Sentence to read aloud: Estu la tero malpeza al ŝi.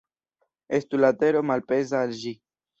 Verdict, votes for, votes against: rejected, 0, 2